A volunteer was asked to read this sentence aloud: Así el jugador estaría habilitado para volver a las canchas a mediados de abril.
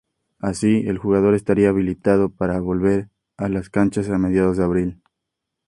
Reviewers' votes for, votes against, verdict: 2, 0, accepted